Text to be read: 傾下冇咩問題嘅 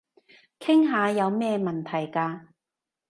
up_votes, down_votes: 1, 2